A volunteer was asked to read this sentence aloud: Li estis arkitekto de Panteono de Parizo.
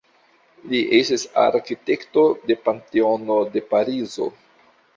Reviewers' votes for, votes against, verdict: 2, 0, accepted